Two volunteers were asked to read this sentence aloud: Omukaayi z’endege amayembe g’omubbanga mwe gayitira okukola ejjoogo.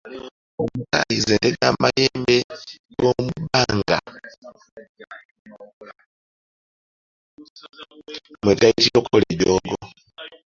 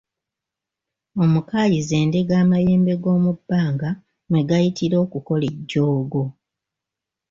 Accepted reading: second